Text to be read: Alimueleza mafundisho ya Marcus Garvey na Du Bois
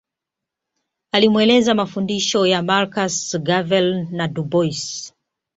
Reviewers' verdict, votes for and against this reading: rejected, 0, 2